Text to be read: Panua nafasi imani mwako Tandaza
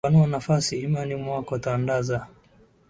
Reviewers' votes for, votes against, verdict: 2, 1, accepted